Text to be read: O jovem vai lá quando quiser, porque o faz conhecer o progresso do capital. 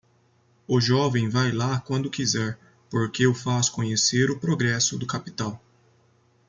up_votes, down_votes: 2, 0